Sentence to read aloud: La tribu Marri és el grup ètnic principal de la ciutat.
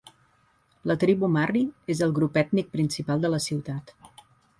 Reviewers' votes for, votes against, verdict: 2, 0, accepted